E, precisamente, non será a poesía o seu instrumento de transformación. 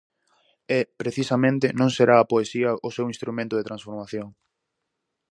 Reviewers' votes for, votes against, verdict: 4, 0, accepted